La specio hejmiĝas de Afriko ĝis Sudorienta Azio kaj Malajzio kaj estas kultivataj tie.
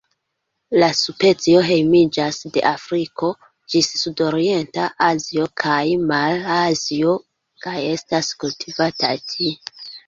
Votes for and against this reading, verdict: 0, 2, rejected